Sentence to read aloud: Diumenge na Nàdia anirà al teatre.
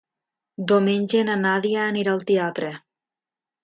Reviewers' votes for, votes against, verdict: 1, 2, rejected